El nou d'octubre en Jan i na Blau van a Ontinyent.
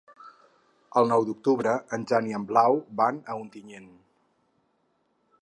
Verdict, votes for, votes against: rejected, 4, 6